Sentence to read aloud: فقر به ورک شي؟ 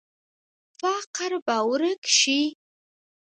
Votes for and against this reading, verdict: 0, 2, rejected